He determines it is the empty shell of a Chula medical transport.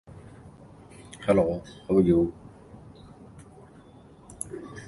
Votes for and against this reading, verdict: 0, 2, rejected